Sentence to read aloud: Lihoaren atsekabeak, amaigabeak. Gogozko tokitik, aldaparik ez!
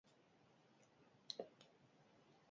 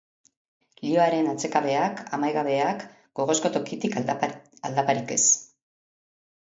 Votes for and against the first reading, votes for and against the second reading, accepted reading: 0, 2, 2, 1, second